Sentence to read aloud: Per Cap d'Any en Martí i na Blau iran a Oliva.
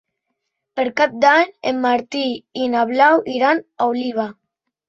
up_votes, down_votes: 4, 0